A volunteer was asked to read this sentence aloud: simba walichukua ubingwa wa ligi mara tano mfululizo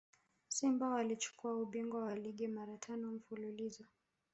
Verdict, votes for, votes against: rejected, 1, 2